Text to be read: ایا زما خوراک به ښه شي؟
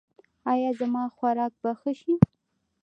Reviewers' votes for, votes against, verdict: 2, 0, accepted